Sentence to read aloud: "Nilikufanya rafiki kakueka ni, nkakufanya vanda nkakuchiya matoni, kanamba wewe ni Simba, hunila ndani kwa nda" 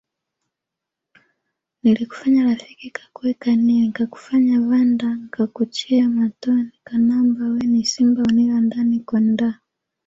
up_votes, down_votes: 1, 2